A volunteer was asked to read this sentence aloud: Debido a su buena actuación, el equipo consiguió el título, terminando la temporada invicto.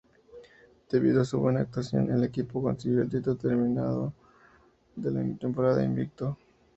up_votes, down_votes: 2, 0